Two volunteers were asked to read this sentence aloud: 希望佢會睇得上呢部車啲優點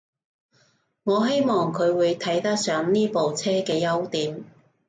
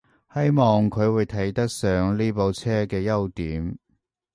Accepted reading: second